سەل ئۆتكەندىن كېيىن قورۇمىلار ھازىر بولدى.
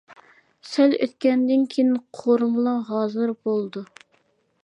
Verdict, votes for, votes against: rejected, 1, 2